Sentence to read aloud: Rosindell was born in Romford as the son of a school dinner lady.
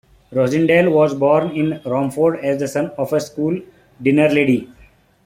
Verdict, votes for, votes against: rejected, 1, 2